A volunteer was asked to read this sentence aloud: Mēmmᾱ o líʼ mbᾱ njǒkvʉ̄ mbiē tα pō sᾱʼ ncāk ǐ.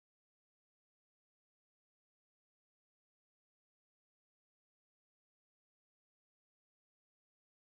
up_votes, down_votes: 2, 3